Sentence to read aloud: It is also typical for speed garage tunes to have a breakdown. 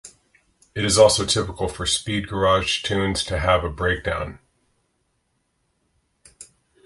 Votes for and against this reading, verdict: 3, 0, accepted